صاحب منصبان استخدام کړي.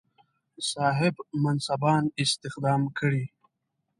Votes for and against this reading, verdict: 2, 0, accepted